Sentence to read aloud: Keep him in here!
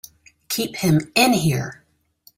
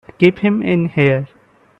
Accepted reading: first